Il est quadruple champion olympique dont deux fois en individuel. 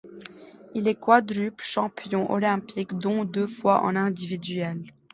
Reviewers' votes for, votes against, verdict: 2, 0, accepted